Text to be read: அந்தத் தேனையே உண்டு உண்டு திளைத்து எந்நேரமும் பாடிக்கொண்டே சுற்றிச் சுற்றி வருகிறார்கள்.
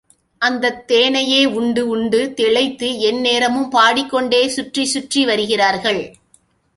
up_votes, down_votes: 2, 0